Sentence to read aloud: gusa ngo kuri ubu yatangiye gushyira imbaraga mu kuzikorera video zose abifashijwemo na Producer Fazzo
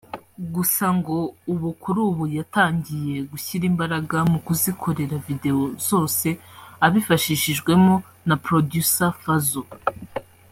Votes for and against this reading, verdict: 0, 2, rejected